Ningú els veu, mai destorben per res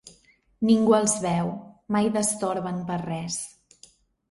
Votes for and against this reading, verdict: 2, 1, accepted